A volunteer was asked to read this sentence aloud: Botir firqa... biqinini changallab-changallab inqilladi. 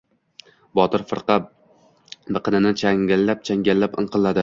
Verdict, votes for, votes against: rejected, 1, 2